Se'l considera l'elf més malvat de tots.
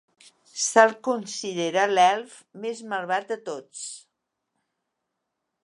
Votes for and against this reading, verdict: 2, 0, accepted